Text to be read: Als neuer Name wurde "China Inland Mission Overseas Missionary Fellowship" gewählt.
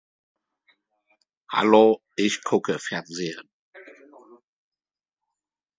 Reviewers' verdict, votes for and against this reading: rejected, 1, 3